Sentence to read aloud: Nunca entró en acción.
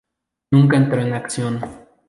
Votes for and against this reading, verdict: 2, 0, accepted